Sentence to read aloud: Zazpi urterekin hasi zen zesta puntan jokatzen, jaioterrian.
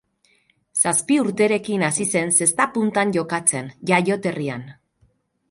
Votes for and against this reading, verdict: 4, 0, accepted